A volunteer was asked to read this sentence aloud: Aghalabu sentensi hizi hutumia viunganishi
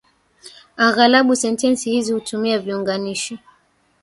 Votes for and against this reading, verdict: 0, 2, rejected